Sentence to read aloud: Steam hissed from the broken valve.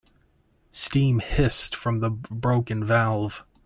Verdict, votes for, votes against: rejected, 0, 2